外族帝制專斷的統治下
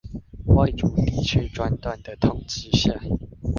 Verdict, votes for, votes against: rejected, 1, 2